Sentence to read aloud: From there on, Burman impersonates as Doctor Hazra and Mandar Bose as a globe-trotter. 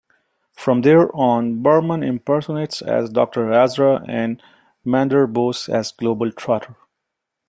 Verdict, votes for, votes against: rejected, 1, 2